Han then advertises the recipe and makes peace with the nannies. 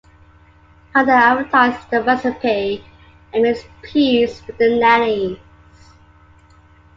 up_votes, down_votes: 1, 2